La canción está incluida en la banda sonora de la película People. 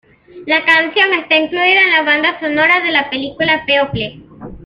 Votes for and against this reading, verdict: 2, 0, accepted